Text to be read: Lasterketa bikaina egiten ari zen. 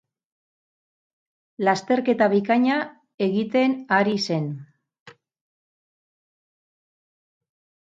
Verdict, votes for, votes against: accepted, 6, 0